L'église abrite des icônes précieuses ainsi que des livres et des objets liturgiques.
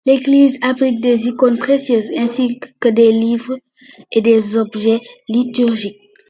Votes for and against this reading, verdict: 2, 0, accepted